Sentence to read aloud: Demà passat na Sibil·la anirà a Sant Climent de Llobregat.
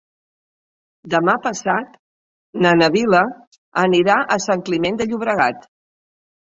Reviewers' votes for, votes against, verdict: 0, 2, rejected